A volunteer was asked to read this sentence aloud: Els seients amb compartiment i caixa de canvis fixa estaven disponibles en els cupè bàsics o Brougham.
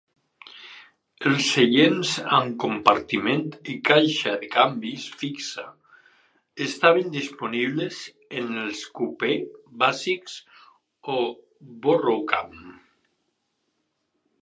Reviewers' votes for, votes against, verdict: 2, 2, rejected